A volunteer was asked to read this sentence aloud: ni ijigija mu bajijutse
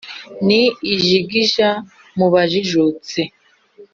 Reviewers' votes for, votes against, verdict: 3, 0, accepted